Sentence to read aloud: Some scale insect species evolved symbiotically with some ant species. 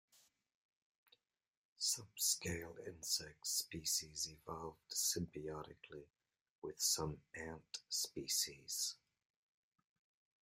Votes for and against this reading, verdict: 2, 1, accepted